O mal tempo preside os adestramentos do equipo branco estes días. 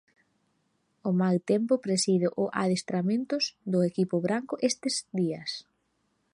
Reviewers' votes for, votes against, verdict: 0, 2, rejected